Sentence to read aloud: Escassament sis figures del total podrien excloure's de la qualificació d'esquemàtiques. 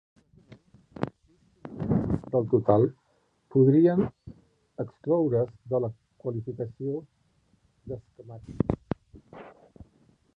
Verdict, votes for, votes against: rejected, 0, 2